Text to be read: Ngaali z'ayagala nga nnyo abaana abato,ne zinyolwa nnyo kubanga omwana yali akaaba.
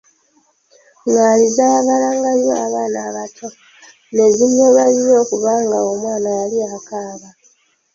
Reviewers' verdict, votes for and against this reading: rejected, 1, 2